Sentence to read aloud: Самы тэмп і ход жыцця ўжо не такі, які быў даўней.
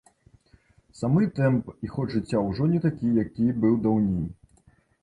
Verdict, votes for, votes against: rejected, 1, 2